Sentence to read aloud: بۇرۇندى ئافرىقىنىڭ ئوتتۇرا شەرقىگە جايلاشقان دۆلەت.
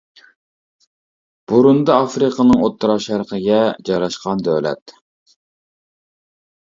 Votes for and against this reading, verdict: 1, 2, rejected